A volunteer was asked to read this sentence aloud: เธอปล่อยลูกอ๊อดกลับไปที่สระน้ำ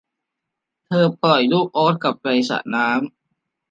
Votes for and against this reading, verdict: 1, 2, rejected